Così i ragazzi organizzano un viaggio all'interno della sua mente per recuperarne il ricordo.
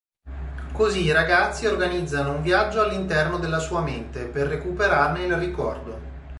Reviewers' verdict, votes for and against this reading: accepted, 2, 0